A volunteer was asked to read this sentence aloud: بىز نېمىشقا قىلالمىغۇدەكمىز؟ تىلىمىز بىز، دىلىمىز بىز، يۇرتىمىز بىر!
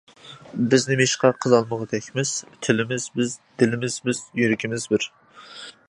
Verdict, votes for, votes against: rejected, 1, 2